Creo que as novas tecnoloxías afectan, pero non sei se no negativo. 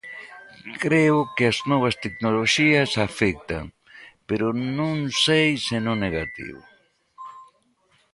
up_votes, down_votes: 2, 0